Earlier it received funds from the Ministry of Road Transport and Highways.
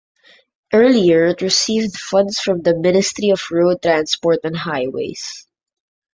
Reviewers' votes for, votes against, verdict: 2, 0, accepted